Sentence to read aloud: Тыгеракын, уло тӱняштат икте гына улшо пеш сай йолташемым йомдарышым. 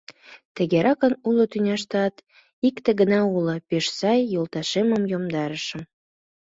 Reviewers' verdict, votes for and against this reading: accepted, 2, 1